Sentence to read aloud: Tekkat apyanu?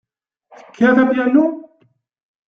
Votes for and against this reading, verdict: 2, 0, accepted